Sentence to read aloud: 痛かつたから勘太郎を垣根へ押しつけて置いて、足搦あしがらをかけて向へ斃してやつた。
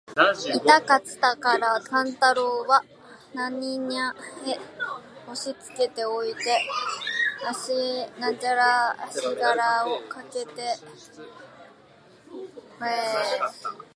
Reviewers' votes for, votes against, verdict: 0, 2, rejected